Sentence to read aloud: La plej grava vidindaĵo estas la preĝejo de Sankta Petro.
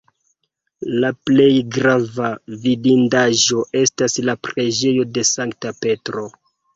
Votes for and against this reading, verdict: 2, 1, accepted